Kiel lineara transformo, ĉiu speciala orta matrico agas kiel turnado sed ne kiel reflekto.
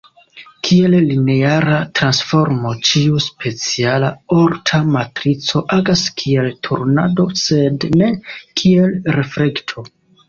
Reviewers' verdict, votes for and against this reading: rejected, 1, 2